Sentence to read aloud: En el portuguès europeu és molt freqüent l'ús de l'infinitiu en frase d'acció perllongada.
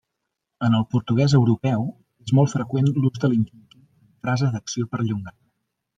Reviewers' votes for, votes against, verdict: 0, 2, rejected